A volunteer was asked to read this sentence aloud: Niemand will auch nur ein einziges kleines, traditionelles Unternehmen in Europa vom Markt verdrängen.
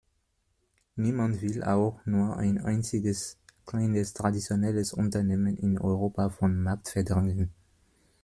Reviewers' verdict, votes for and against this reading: accepted, 2, 0